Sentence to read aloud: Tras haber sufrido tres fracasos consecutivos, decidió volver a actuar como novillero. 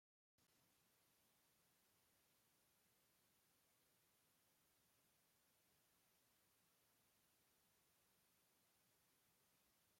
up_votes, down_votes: 0, 2